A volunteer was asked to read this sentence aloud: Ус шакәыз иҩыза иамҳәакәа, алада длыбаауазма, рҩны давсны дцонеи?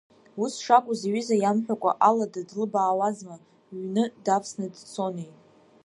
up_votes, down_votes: 1, 2